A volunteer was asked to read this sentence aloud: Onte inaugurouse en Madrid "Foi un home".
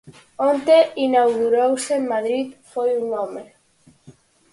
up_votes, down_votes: 4, 0